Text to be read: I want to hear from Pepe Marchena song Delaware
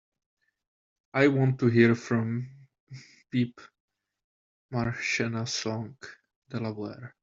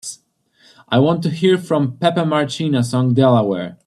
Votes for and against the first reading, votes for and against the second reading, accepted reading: 1, 2, 2, 0, second